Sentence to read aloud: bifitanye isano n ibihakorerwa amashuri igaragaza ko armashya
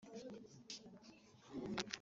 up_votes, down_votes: 0, 3